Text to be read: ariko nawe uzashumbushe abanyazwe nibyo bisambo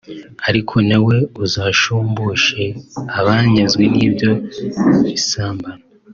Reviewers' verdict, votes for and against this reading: accepted, 2, 1